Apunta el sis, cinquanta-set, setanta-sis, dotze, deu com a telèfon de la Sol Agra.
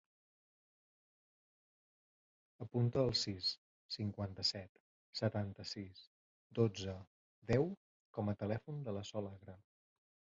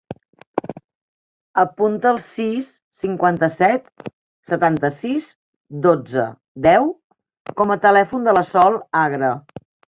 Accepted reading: first